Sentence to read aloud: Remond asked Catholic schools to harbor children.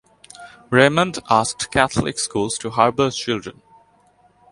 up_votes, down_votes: 2, 0